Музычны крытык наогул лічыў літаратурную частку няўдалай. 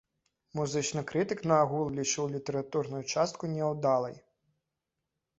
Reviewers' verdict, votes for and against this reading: rejected, 1, 2